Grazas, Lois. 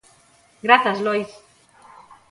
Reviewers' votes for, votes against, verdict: 2, 0, accepted